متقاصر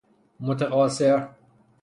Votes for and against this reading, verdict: 0, 3, rejected